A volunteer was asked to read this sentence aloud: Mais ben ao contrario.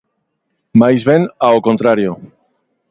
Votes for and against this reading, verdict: 1, 2, rejected